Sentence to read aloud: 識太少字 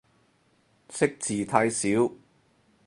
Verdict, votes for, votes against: rejected, 2, 4